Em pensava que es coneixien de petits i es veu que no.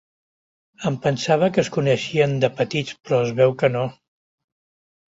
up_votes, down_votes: 1, 2